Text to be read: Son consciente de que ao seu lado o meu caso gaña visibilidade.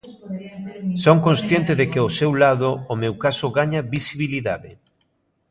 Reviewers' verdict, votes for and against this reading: accepted, 2, 0